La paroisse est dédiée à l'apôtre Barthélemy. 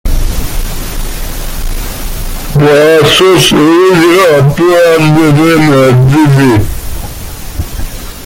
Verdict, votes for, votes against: rejected, 0, 2